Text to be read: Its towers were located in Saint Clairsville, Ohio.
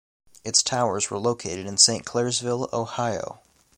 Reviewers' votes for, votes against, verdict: 2, 0, accepted